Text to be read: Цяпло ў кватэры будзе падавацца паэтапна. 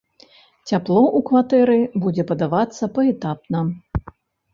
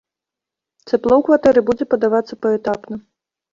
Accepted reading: second